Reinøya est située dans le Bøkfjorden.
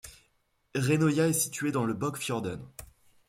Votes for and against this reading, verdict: 2, 0, accepted